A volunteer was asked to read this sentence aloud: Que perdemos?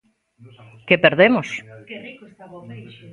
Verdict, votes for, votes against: rejected, 0, 2